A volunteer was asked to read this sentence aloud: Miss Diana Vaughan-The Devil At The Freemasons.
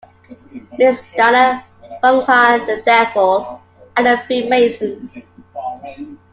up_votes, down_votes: 1, 2